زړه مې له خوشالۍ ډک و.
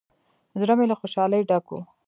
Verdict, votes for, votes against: accepted, 2, 0